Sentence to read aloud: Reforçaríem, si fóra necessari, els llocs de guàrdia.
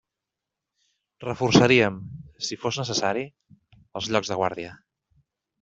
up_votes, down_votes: 0, 2